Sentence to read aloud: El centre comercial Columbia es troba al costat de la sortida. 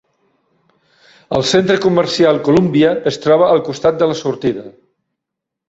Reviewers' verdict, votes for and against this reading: accepted, 2, 0